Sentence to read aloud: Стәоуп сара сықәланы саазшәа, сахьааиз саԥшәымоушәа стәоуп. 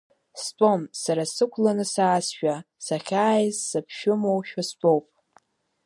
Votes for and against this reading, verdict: 1, 2, rejected